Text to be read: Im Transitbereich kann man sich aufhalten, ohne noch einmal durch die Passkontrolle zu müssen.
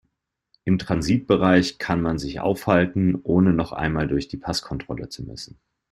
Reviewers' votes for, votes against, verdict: 3, 0, accepted